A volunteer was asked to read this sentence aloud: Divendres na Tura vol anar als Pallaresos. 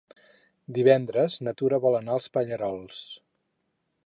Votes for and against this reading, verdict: 0, 4, rejected